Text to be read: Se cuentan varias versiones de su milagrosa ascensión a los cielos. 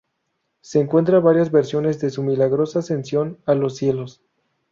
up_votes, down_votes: 0, 2